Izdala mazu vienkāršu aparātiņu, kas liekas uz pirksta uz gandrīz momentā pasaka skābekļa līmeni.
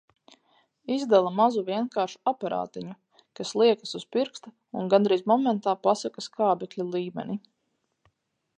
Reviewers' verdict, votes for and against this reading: accepted, 4, 0